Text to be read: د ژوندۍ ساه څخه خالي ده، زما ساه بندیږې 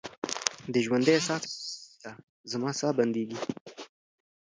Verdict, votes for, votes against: accepted, 2, 0